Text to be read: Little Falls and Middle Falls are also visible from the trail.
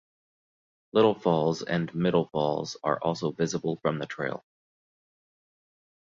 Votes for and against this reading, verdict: 2, 0, accepted